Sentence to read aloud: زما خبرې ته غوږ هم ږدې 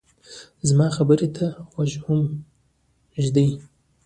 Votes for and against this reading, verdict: 2, 1, accepted